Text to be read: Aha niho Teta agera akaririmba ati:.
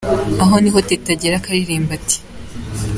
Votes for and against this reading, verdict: 2, 0, accepted